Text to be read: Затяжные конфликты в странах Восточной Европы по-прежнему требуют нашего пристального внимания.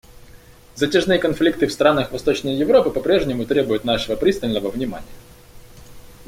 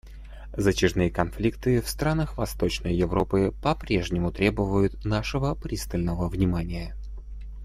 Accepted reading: first